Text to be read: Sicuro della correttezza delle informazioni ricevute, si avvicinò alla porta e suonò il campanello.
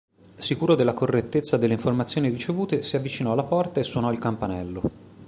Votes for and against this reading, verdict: 2, 0, accepted